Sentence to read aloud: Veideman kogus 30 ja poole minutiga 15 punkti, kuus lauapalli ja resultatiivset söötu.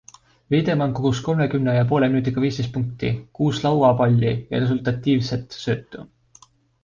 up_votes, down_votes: 0, 2